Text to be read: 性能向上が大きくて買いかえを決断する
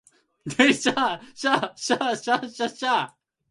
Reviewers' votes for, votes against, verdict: 0, 2, rejected